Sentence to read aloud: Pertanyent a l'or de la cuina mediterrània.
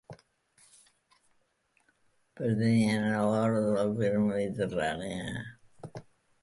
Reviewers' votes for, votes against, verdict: 1, 2, rejected